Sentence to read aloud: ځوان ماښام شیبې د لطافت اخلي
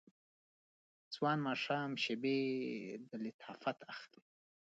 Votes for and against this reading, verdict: 2, 1, accepted